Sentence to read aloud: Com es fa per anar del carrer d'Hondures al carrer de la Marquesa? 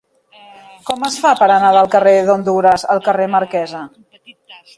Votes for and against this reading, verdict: 0, 3, rejected